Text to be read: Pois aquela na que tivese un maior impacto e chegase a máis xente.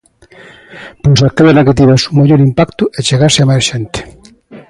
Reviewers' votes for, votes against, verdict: 2, 0, accepted